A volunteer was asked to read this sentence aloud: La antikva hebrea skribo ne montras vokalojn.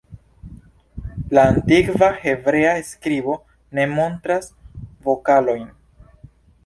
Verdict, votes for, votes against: accepted, 2, 0